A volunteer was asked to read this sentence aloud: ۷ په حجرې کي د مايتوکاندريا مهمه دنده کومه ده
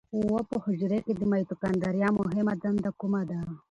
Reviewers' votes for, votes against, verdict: 0, 2, rejected